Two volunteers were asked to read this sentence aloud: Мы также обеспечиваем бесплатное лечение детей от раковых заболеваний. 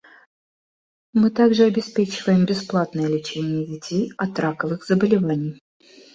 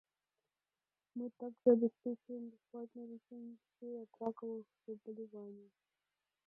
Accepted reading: first